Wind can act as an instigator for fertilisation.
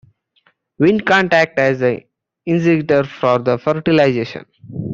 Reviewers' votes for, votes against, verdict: 0, 2, rejected